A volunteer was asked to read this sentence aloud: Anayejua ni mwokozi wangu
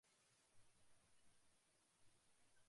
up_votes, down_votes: 1, 2